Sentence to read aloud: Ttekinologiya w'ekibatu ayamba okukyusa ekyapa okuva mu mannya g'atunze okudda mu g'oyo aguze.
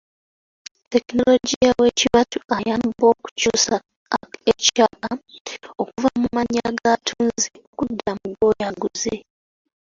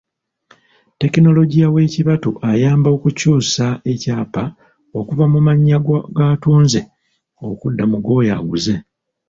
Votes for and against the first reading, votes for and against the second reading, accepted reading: 1, 2, 2, 1, second